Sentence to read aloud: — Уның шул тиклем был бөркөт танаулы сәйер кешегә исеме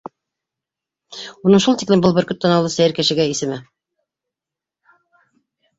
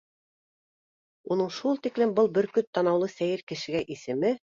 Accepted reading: second